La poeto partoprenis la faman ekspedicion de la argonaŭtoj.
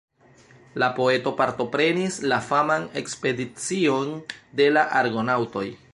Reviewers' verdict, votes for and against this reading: accepted, 2, 0